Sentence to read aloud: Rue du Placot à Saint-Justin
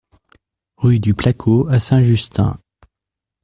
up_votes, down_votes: 2, 0